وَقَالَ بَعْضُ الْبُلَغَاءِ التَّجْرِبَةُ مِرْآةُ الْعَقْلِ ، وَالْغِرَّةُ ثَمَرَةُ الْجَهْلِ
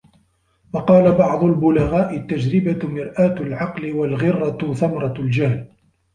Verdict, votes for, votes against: rejected, 2, 3